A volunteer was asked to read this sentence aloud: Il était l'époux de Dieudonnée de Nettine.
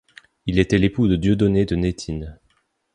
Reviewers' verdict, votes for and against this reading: accepted, 2, 0